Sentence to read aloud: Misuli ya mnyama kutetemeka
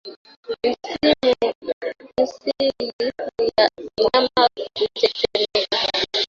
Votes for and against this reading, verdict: 0, 2, rejected